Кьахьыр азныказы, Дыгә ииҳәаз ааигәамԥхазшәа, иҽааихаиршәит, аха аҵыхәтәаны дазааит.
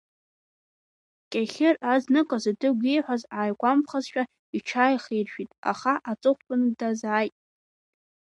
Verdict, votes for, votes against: accepted, 2, 0